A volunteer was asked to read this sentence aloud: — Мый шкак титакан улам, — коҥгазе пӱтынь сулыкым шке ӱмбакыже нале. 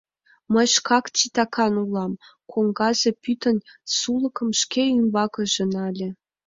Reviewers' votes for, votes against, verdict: 3, 4, rejected